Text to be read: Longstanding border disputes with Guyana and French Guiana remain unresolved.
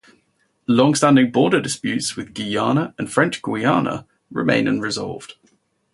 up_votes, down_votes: 2, 2